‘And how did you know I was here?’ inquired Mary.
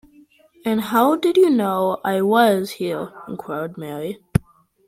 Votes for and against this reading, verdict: 2, 0, accepted